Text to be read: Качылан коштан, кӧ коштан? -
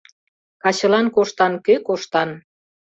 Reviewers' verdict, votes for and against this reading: accepted, 2, 0